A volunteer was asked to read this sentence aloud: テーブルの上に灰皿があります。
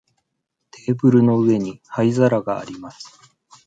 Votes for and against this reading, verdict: 2, 0, accepted